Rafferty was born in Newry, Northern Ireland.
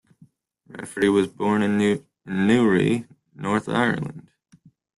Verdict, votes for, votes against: rejected, 0, 2